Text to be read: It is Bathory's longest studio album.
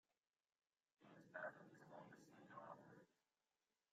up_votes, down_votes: 0, 2